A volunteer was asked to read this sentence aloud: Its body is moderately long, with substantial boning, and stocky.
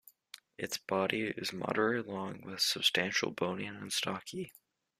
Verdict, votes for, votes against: rejected, 1, 2